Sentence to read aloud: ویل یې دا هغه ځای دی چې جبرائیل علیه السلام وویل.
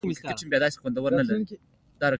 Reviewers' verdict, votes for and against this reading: accepted, 2, 0